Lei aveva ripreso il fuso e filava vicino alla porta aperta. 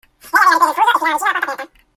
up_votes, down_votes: 0, 2